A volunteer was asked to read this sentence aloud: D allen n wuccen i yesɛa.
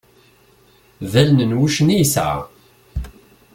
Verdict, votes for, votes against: accepted, 2, 0